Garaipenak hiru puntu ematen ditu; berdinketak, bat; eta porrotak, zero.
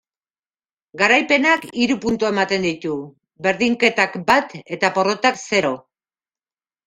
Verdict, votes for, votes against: accepted, 2, 0